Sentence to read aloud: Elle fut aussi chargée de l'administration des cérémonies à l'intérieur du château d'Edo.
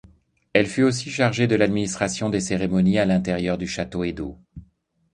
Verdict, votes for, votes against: rejected, 0, 2